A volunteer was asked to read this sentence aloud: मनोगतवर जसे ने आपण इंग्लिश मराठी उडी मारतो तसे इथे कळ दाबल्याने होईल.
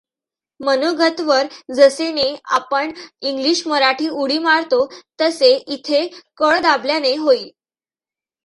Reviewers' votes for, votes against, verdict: 2, 0, accepted